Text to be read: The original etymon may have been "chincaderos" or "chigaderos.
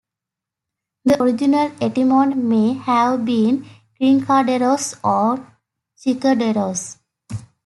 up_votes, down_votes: 0, 2